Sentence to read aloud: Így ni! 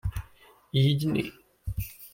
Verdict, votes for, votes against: accepted, 2, 0